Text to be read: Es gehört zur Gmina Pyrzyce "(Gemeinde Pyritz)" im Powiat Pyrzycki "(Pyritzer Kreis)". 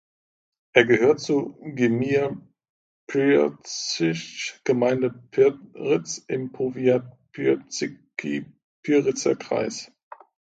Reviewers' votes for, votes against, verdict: 0, 2, rejected